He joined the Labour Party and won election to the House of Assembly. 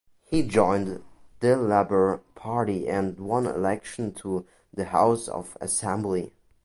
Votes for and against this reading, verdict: 2, 0, accepted